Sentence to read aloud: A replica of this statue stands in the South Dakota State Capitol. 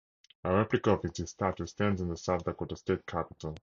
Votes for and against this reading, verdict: 0, 2, rejected